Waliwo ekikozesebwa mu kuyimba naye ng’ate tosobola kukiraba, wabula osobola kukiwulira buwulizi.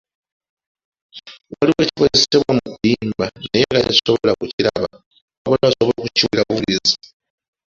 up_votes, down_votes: 1, 2